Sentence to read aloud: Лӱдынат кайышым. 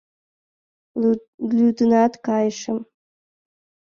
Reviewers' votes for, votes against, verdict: 0, 2, rejected